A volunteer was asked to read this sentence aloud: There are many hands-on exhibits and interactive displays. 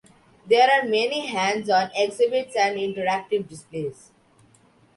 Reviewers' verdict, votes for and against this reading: accepted, 2, 0